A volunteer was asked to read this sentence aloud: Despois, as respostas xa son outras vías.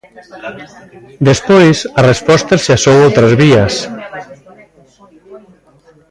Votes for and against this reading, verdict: 1, 2, rejected